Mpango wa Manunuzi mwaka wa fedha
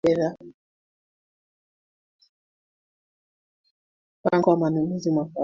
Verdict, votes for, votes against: rejected, 0, 2